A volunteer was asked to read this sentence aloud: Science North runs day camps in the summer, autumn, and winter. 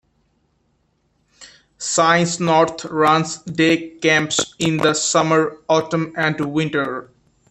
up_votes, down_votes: 2, 1